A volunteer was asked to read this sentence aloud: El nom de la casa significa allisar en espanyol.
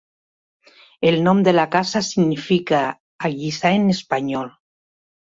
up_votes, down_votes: 3, 0